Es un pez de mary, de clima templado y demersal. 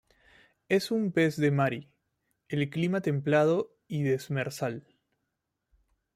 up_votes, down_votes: 0, 2